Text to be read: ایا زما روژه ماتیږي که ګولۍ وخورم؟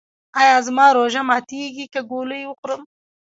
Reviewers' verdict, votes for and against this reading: rejected, 0, 2